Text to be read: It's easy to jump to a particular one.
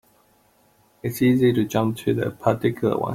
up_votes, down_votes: 1, 2